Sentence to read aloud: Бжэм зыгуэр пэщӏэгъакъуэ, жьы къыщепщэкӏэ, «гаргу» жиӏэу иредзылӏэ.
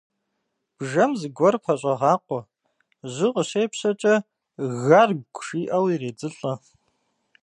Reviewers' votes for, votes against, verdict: 2, 0, accepted